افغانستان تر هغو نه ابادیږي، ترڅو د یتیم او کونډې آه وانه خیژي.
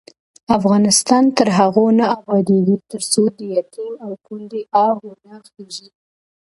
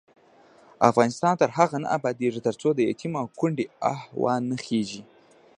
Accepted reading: first